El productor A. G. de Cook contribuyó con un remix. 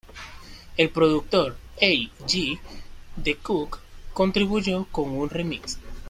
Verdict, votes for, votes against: rejected, 1, 2